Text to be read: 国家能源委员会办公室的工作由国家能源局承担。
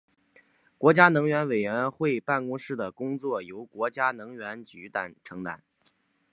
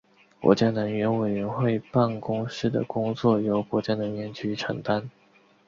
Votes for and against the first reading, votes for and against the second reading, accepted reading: 2, 4, 5, 0, second